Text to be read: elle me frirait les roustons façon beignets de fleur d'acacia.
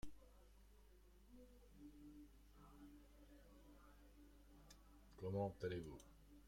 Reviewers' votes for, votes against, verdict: 0, 2, rejected